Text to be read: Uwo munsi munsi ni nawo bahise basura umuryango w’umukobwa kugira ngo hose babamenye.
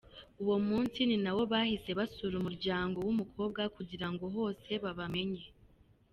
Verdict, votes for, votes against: accepted, 2, 0